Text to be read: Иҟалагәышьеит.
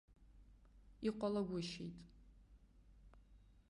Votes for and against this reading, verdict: 2, 0, accepted